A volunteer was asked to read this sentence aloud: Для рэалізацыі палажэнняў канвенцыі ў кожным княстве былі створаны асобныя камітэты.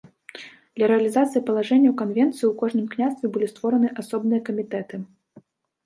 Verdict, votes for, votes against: accepted, 2, 0